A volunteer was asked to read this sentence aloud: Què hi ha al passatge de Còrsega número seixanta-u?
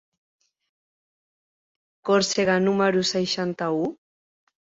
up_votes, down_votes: 0, 2